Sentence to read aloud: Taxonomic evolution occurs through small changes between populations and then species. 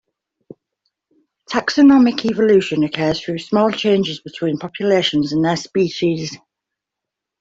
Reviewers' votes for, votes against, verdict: 1, 2, rejected